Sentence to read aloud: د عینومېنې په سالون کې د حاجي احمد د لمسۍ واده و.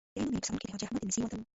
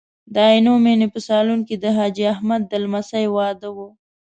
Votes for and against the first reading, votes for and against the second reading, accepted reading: 1, 2, 2, 0, second